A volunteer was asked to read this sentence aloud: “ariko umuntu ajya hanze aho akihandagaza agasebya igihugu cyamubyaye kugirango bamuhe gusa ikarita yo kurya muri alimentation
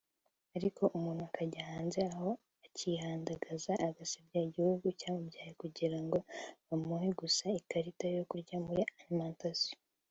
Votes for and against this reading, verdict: 2, 0, accepted